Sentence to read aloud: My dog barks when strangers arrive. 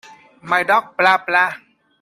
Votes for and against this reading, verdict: 0, 2, rejected